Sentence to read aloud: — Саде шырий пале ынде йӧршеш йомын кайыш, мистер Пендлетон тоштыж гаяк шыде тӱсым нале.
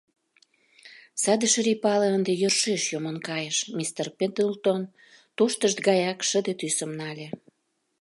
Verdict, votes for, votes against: rejected, 1, 2